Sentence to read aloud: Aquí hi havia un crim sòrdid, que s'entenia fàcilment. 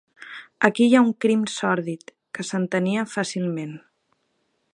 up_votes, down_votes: 0, 4